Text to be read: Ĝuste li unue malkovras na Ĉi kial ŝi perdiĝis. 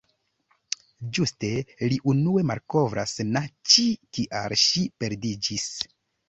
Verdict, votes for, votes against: accepted, 2, 0